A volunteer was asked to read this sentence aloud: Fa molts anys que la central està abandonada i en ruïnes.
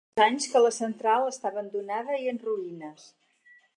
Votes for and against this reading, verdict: 0, 4, rejected